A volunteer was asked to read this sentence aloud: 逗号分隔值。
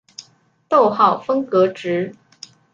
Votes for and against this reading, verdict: 2, 0, accepted